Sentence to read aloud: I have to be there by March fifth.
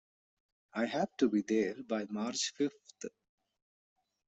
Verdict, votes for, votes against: accepted, 2, 0